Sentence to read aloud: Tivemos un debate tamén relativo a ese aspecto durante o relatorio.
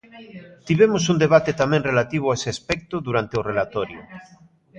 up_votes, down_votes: 0, 2